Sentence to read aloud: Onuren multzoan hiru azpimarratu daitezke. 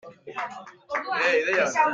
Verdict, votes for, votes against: rejected, 0, 2